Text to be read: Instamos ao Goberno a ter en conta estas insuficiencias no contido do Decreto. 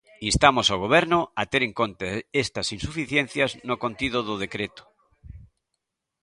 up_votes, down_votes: 0, 2